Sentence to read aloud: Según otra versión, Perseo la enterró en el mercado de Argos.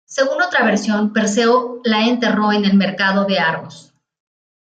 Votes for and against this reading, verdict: 1, 2, rejected